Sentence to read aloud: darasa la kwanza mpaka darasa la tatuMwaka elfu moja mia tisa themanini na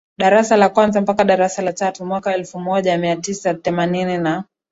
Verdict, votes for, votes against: accepted, 8, 1